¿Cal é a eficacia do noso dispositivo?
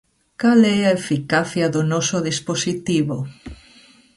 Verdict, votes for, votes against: accepted, 2, 0